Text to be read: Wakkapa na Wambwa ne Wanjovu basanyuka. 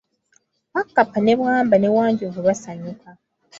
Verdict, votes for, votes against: rejected, 1, 2